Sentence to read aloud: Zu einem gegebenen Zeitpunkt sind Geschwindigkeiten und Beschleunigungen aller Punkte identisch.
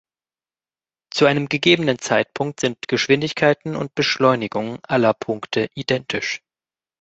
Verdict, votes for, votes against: accepted, 2, 0